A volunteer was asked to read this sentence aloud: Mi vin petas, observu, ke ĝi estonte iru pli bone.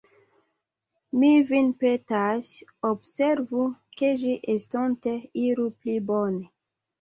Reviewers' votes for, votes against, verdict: 2, 1, accepted